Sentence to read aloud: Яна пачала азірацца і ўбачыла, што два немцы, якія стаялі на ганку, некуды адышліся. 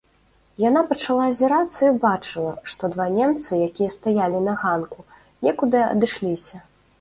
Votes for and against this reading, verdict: 2, 0, accepted